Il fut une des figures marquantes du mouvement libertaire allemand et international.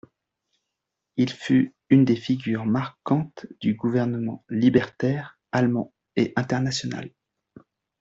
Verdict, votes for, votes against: rejected, 1, 2